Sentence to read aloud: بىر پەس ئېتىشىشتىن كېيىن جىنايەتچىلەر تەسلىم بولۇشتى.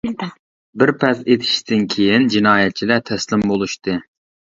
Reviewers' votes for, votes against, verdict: 0, 2, rejected